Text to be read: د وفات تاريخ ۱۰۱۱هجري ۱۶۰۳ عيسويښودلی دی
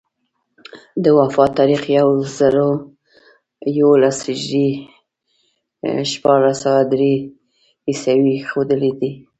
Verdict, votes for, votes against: rejected, 0, 2